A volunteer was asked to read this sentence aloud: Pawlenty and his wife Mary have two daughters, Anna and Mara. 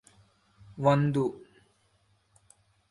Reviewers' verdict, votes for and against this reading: rejected, 0, 2